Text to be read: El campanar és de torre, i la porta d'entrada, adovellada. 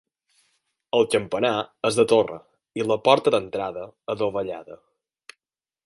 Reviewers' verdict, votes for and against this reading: accepted, 4, 0